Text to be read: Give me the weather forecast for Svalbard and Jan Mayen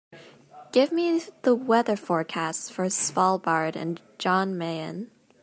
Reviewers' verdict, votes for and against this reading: accepted, 3, 0